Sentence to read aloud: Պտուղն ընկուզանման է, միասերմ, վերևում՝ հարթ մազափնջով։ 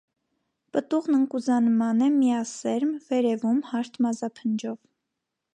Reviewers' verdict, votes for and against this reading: accepted, 2, 0